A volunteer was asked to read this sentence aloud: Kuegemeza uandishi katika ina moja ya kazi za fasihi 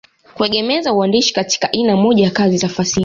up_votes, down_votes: 2, 0